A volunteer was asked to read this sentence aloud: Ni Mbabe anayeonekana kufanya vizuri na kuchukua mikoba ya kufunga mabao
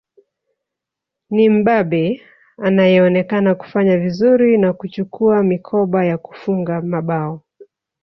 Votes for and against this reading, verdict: 2, 0, accepted